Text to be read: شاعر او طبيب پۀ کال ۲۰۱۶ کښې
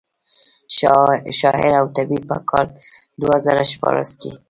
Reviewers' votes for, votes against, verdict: 0, 2, rejected